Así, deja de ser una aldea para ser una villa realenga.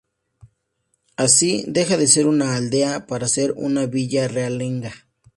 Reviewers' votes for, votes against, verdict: 2, 0, accepted